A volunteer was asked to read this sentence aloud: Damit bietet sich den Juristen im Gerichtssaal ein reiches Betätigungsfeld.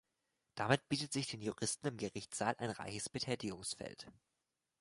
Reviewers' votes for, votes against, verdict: 2, 0, accepted